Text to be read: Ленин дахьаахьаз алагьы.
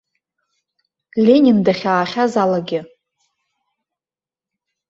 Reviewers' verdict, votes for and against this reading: accepted, 2, 0